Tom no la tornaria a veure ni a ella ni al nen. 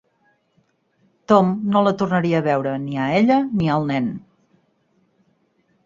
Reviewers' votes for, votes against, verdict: 6, 0, accepted